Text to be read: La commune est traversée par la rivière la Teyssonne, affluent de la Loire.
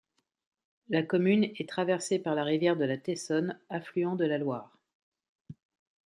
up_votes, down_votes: 1, 2